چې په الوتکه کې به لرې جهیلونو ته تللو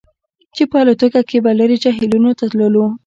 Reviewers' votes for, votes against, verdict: 2, 0, accepted